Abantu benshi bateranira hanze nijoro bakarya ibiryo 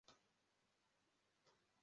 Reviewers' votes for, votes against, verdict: 0, 2, rejected